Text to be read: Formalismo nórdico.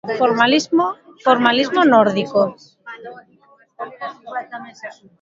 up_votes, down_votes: 0, 2